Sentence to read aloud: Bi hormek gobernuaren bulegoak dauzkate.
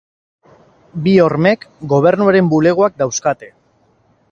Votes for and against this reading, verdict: 2, 2, rejected